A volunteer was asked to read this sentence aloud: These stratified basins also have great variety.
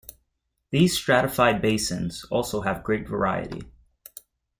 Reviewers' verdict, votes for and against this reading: accepted, 2, 0